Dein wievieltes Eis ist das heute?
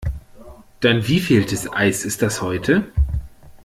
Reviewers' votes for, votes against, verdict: 2, 0, accepted